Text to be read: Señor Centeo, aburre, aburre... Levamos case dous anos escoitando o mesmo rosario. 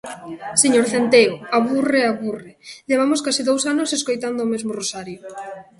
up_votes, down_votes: 3, 1